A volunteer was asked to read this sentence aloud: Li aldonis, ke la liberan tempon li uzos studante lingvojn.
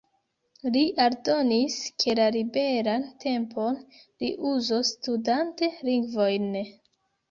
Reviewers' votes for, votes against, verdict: 2, 0, accepted